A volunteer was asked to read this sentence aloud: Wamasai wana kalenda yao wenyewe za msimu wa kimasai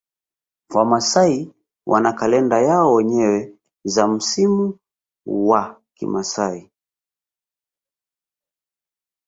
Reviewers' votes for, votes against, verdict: 2, 0, accepted